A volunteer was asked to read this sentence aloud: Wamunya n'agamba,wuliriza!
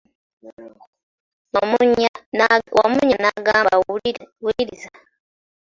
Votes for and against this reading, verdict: 1, 2, rejected